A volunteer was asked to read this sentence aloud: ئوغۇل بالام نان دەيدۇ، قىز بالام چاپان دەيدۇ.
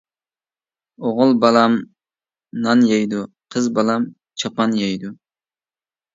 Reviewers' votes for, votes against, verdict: 0, 2, rejected